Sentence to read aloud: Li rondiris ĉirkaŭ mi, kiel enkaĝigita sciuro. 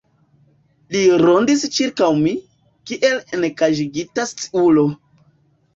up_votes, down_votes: 1, 2